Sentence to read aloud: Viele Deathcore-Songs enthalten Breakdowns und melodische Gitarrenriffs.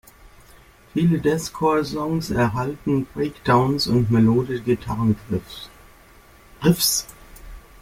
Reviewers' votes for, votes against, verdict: 0, 2, rejected